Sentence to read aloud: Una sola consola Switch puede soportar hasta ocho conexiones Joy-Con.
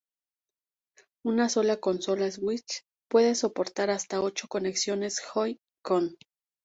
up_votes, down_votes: 2, 0